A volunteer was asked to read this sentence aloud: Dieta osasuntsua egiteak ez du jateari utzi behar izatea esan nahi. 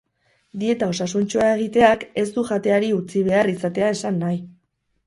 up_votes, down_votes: 2, 2